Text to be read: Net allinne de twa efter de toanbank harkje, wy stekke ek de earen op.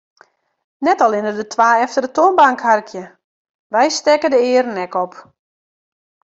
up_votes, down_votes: 1, 2